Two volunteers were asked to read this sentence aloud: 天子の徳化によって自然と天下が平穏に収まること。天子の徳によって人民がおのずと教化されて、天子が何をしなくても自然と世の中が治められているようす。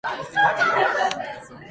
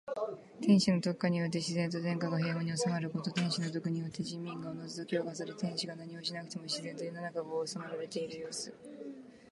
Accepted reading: second